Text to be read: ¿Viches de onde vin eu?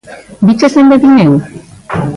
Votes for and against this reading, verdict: 1, 2, rejected